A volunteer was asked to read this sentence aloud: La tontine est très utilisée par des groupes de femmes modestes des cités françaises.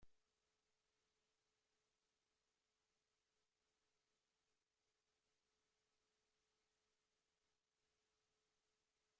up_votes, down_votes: 0, 2